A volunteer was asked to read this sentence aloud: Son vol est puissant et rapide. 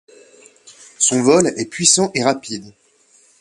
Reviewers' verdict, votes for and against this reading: accepted, 2, 0